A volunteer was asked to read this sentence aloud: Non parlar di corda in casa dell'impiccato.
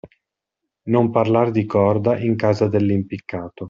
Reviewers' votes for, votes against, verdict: 2, 0, accepted